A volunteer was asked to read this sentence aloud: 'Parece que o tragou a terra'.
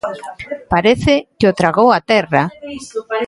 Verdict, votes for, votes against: accepted, 2, 0